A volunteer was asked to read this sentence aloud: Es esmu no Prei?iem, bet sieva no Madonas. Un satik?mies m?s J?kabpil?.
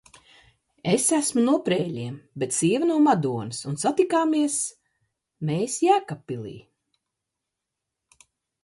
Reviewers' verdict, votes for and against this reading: rejected, 0, 2